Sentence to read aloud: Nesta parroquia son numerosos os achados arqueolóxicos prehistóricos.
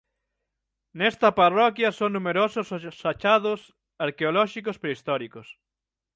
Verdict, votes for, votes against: rejected, 3, 6